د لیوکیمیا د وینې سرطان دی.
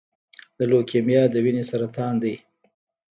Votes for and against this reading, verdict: 1, 2, rejected